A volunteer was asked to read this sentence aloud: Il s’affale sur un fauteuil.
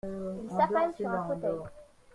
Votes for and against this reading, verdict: 2, 1, accepted